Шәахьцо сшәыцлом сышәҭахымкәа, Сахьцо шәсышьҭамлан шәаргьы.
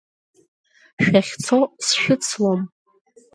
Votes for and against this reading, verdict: 0, 2, rejected